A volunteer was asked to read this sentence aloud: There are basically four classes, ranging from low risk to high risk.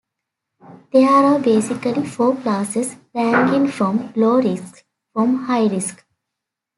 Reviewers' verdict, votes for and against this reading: accepted, 2, 1